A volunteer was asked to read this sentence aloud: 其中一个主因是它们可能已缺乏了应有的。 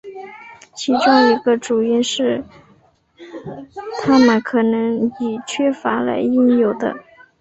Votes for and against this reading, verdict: 1, 2, rejected